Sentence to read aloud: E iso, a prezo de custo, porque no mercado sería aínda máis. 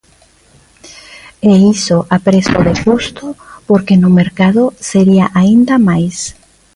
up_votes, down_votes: 2, 1